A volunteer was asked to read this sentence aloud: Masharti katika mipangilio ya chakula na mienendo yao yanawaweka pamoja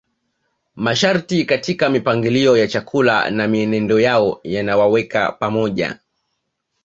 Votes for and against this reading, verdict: 2, 0, accepted